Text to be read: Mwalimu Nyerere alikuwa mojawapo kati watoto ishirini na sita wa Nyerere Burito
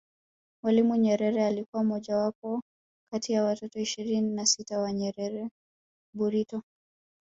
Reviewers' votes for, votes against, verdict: 1, 2, rejected